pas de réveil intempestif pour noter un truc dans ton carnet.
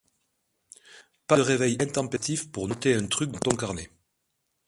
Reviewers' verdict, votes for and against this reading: rejected, 1, 2